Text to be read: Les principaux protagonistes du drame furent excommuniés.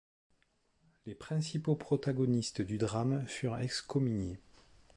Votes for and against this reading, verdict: 4, 0, accepted